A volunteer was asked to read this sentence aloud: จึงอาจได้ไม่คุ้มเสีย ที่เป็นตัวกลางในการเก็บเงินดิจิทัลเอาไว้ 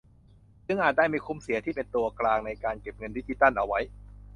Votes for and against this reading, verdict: 2, 0, accepted